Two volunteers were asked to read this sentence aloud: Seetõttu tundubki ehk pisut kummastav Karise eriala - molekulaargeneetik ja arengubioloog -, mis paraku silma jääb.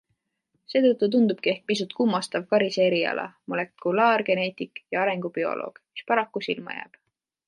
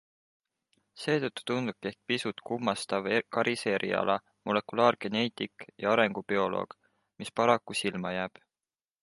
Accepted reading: first